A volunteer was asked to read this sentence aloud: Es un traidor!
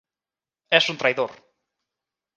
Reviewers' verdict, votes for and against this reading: accepted, 2, 0